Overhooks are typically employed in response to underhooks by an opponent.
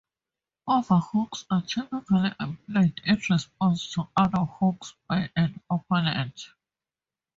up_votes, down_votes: 2, 2